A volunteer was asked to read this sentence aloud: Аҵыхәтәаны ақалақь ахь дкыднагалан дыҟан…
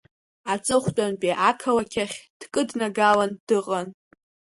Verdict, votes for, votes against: rejected, 0, 2